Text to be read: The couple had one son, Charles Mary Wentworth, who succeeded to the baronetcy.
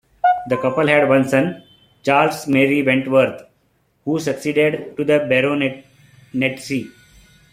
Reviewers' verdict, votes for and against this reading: rejected, 2, 3